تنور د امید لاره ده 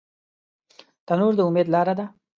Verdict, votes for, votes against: accepted, 2, 0